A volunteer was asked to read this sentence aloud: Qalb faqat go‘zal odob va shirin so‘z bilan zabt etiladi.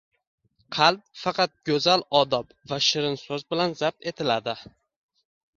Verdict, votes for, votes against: accepted, 2, 0